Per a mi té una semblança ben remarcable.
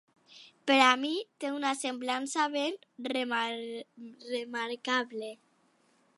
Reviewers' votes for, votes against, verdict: 0, 2, rejected